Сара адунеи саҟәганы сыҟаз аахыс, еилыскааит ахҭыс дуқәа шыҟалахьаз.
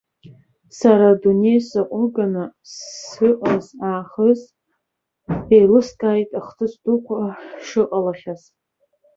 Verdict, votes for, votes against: rejected, 0, 3